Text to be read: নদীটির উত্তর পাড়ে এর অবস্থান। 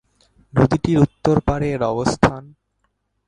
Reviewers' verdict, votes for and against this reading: rejected, 3, 7